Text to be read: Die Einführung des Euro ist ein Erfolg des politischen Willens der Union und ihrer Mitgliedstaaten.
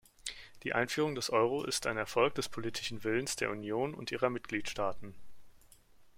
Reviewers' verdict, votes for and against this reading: accepted, 2, 0